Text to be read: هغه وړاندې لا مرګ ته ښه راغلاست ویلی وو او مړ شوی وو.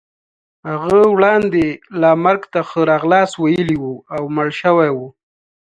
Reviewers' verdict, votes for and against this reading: accepted, 2, 0